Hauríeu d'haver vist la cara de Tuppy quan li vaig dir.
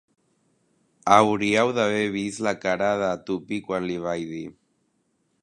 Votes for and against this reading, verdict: 1, 2, rejected